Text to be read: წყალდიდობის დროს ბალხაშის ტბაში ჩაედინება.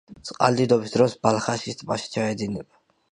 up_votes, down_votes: 2, 0